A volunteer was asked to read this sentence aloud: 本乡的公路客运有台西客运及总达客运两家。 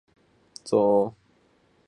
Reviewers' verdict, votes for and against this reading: rejected, 1, 2